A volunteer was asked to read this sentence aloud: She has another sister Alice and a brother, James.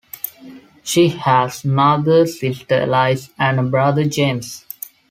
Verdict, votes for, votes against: rejected, 1, 2